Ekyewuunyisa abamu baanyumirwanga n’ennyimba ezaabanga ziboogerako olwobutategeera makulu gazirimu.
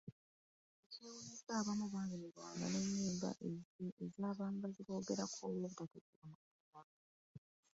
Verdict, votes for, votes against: rejected, 1, 2